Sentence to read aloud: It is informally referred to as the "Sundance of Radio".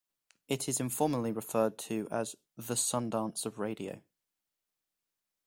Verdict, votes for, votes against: accepted, 2, 0